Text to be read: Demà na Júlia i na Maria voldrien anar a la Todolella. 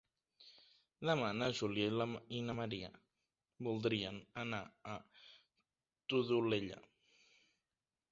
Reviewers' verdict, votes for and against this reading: accepted, 2, 1